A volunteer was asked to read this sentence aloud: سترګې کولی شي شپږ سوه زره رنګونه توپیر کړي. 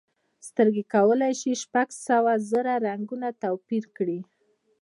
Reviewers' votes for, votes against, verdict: 0, 2, rejected